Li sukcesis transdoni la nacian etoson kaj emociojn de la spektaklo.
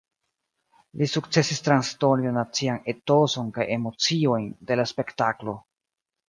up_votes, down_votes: 1, 2